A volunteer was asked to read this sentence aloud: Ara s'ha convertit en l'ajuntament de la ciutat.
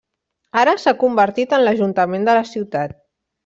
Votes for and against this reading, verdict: 3, 0, accepted